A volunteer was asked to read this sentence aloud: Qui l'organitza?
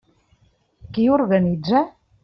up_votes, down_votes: 0, 2